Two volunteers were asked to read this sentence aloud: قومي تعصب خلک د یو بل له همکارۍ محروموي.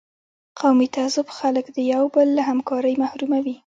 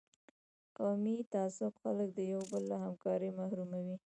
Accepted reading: first